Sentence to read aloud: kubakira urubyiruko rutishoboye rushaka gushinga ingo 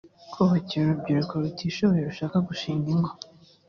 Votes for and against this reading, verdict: 2, 0, accepted